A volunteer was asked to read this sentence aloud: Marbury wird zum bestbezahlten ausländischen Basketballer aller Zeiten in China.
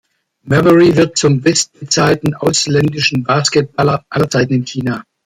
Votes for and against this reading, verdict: 1, 2, rejected